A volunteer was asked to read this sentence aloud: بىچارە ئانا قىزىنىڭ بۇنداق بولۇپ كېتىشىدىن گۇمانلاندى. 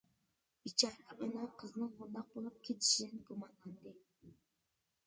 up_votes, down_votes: 1, 2